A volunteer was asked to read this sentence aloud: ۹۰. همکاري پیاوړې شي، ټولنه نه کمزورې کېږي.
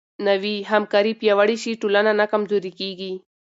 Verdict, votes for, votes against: rejected, 0, 2